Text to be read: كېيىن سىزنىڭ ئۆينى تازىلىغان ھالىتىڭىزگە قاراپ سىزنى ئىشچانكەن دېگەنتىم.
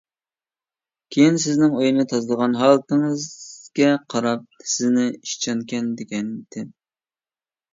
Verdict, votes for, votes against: rejected, 0, 2